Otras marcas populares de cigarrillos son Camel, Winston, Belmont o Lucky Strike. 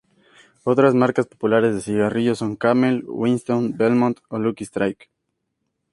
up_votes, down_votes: 2, 0